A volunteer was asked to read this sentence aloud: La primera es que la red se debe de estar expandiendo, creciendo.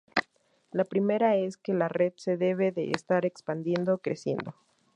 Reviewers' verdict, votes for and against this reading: accepted, 4, 0